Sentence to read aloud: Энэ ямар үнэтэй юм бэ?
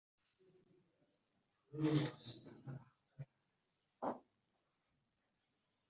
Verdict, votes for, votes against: rejected, 0, 2